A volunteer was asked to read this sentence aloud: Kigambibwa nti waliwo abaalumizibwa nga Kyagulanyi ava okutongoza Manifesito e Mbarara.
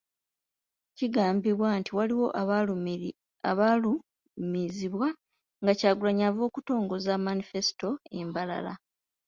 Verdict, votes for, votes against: rejected, 0, 2